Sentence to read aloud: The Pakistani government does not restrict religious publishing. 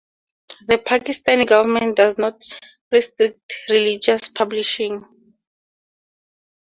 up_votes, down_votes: 2, 0